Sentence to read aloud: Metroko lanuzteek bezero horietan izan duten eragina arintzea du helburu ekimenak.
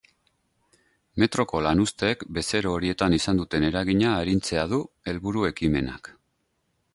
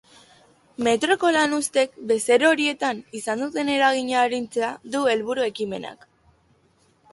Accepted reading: second